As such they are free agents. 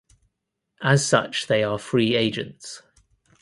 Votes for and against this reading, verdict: 2, 0, accepted